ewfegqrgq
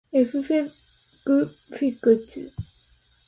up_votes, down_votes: 0, 2